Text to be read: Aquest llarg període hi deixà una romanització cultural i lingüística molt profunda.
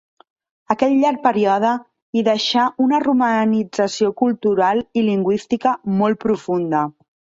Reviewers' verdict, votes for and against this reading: accepted, 3, 0